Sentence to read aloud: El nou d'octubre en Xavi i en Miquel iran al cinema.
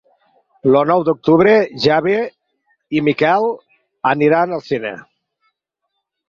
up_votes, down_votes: 0, 6